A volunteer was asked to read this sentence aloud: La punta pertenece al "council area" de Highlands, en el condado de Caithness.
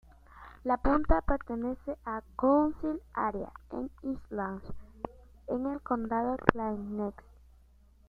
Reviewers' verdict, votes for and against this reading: rejected, 0, 2